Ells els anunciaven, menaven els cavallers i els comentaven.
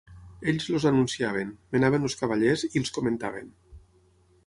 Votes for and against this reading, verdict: 0, 6, rejected